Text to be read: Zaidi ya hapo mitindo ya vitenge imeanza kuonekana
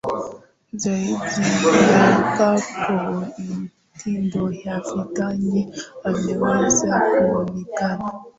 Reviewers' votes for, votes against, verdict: 0, 2, rejected